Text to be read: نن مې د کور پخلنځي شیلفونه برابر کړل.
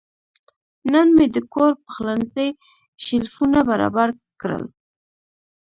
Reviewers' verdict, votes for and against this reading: accepted, 2, 0